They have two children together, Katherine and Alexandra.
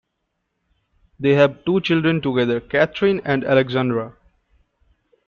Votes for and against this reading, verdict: 2, 0, accepted